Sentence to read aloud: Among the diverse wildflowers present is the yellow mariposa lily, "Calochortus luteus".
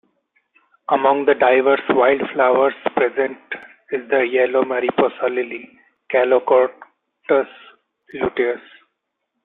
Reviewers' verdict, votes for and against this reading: rejected, 1, 2